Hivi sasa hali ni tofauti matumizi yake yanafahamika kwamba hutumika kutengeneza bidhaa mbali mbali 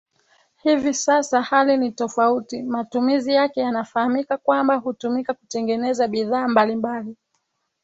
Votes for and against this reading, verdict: 2, 0, accepted